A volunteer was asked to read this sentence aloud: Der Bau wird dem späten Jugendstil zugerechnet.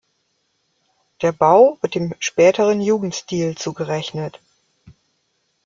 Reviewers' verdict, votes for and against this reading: rejected, 0, 2